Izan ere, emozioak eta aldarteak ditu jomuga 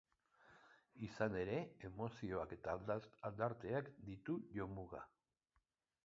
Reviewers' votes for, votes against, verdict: 0, 2, rejected